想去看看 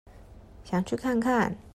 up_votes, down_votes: 2, 0